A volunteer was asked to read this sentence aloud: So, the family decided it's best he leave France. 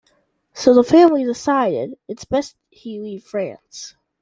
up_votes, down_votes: 2, 0